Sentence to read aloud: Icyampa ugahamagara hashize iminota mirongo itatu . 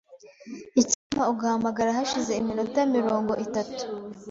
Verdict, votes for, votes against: rejected, 1, 2